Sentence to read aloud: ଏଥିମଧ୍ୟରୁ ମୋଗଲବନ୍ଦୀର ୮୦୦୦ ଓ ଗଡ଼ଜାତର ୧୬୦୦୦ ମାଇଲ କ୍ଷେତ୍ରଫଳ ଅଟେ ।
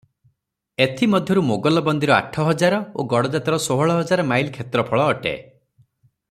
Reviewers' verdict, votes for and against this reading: rejected, 0, 2